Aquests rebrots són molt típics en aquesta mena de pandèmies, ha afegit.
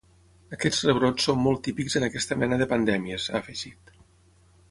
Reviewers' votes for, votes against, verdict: 6, 0, accepted